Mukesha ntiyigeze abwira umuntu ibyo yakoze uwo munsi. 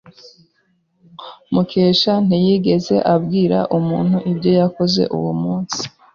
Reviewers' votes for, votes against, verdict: 2, 0, accepted